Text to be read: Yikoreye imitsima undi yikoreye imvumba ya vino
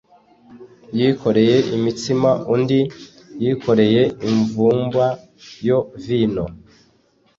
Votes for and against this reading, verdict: 2, 3, rejected